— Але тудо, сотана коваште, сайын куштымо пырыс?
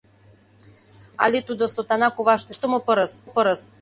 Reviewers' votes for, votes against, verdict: 0, 2, rejected